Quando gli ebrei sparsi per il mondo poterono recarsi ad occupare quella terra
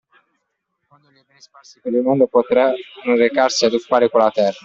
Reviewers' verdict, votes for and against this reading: rejected, 0, 2